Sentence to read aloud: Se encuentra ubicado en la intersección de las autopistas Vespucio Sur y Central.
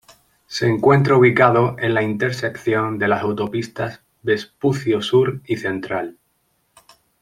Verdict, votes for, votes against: accepted, 2, 1